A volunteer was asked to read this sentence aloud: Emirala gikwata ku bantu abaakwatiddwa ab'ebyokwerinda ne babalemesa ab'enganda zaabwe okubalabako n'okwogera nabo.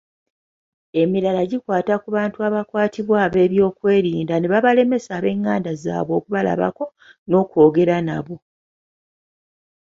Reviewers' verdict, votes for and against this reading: accepted, 2, 0